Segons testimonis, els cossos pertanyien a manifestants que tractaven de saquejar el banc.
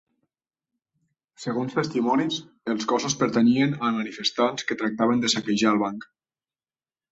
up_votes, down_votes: 3, 0